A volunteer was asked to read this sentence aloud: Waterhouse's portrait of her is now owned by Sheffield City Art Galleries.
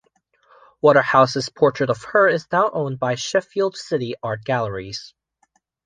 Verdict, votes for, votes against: accepted, 2, 0